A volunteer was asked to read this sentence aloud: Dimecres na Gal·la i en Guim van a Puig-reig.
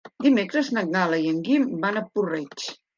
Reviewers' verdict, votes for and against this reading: rejected, 1, 2